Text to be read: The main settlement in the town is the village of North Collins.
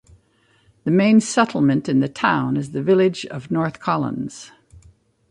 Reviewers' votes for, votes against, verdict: 2, 0, accepted